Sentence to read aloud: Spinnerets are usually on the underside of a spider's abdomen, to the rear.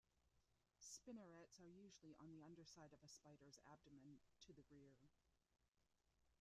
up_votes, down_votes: 1, 2